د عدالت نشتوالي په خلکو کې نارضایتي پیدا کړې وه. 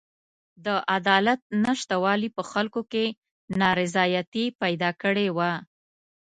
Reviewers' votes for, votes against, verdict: 2, 0, accepted